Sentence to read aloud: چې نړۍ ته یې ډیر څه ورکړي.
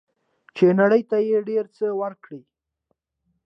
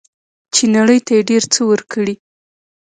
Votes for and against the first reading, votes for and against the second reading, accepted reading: 2, 0, 0, 2, first